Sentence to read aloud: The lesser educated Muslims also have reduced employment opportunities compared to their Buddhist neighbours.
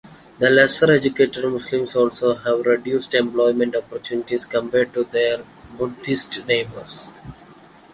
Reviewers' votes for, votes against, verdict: 2, 0, accepted